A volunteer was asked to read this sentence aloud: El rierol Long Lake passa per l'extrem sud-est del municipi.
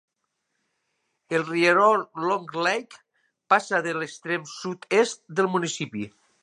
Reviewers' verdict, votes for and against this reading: rejected, 1, 2